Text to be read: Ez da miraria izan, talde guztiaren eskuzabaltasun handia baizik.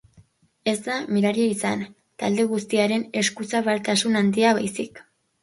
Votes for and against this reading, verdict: 3, 0, accepted